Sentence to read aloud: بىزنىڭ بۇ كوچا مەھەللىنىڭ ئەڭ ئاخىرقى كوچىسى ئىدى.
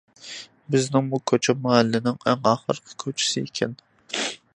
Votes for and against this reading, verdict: 0, 2, rejected